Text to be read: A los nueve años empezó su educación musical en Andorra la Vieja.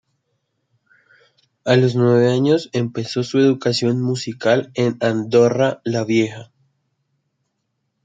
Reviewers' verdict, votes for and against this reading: accepted, 2, 0